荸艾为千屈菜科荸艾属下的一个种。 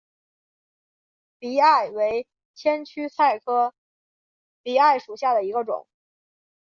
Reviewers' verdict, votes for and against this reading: accepted, 2, 1